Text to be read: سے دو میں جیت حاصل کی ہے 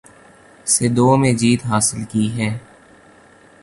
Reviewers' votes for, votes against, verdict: 2, 1, accepted